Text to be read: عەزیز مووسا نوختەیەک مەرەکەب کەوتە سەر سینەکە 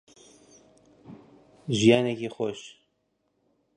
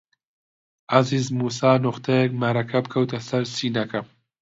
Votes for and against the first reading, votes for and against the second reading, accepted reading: 0, 2, 2, 0, second